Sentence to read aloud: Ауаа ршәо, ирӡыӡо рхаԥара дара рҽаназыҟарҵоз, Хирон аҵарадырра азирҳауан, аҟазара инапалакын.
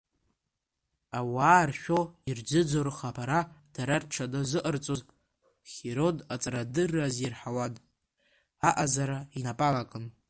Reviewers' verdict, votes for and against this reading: accepted, 2, 1